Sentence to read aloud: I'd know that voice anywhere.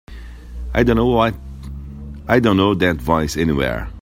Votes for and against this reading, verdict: 0, 2, rejected